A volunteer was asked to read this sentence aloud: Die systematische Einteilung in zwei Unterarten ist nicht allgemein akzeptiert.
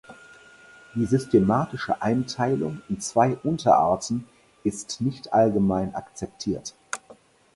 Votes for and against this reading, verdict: 4, 0, accepted